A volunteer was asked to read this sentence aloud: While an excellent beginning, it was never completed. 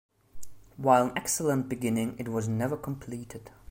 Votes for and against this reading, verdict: 2, 0, accepted